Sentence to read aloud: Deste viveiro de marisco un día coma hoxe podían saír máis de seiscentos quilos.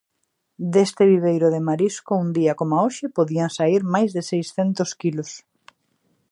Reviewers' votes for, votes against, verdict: 4, 0, accepted